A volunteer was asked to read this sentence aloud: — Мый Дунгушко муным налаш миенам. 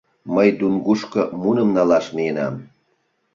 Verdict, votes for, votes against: accepted, 2, 0